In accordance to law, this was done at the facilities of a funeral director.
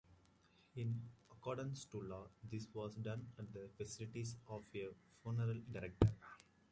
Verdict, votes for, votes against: rejected, 1, 2